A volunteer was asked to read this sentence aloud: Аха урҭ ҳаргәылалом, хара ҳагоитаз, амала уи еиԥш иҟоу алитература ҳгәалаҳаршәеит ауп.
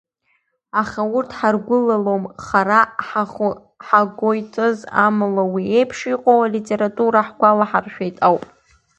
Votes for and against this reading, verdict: 1, 2, rejected